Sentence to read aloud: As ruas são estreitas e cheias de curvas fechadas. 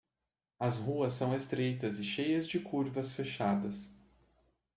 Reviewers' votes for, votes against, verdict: 2, 0, accepted